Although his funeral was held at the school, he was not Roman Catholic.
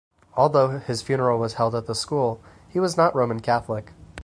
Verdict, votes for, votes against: accepted, 4, 0